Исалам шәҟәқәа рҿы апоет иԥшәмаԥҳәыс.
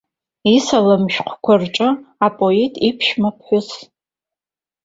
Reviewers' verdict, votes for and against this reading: accepted, 2, 1